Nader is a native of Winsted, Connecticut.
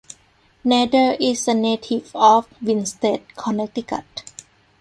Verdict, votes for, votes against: accepted, 2, 0